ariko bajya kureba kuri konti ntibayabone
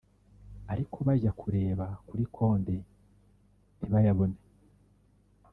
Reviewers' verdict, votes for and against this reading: rejected, 0, 2